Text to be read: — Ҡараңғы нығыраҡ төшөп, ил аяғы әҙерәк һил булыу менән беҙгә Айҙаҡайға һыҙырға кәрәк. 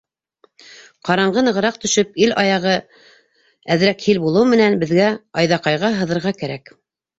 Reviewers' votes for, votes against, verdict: 1, 2, rejected